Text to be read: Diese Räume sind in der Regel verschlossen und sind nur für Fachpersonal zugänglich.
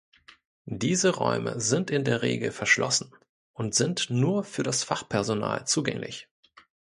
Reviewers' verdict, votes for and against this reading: rejected, 0, 2